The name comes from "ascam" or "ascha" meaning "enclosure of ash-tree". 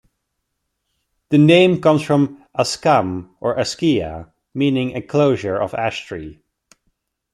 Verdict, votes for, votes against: accepted, 2, 1